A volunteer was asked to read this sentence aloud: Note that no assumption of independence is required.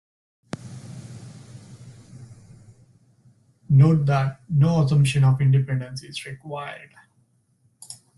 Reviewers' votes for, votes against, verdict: 2, 0, accepted